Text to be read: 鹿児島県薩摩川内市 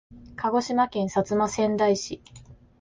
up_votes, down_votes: 2, 1